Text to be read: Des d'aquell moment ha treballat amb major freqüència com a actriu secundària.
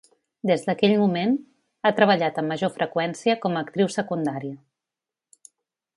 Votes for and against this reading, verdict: 2, 1, accepted